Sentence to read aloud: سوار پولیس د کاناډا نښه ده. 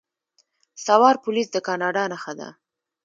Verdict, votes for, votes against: rejected, 0, 2